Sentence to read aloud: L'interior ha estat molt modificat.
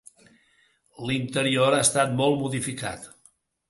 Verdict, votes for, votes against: accepted, 3, 0